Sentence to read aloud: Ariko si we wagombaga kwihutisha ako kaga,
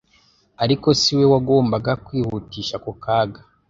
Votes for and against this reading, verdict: 2, 0, accepted